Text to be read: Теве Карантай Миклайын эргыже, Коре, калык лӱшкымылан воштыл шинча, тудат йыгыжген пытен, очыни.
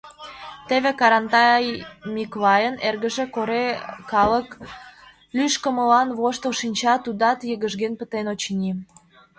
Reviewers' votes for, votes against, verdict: 1, 2, rejected